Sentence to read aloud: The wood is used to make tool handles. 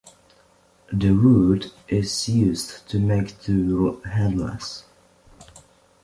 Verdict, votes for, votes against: rejected, 1, 2